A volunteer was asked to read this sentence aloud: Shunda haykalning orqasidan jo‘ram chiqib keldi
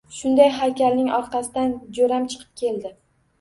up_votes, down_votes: 1, 2